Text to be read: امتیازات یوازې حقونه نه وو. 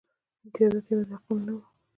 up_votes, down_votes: 0, 2